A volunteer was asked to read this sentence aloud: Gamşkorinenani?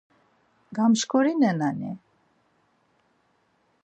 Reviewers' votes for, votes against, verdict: 4, 0, accepted